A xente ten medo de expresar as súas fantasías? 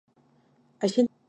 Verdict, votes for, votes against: rejected, 0, 2